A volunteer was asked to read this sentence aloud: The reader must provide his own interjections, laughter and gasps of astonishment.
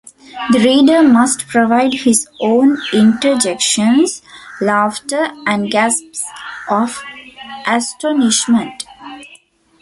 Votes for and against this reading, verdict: 2, 1, accepted